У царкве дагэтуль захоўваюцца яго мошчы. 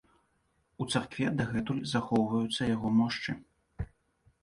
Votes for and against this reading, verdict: 2, 0, accepted